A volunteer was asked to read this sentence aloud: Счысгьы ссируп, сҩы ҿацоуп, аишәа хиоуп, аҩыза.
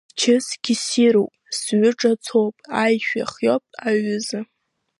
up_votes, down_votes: 3, 0